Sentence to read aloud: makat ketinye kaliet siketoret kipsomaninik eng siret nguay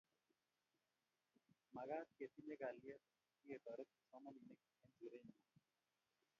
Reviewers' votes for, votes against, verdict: 0, 2, rejected